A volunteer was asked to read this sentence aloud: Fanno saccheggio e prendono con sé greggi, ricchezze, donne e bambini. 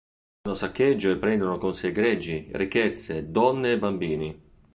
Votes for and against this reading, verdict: 0, 2, rejected